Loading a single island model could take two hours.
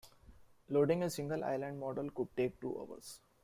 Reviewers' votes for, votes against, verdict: 0, 2, rejected